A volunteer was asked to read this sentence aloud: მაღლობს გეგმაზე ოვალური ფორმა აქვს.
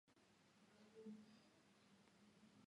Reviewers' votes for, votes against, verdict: 1, 2, rejected